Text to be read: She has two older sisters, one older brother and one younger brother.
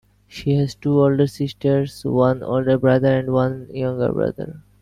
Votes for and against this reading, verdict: 2, 0, accepted